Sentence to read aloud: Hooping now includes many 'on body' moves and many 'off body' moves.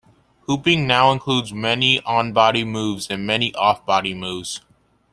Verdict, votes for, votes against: accepted, 2, 0